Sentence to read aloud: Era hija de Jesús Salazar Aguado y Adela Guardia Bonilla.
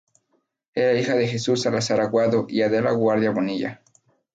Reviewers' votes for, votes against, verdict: 2, 0, accepted